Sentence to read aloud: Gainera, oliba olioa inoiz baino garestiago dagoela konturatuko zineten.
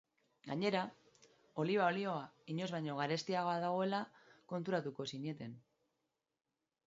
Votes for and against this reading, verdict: 2, 0, accepted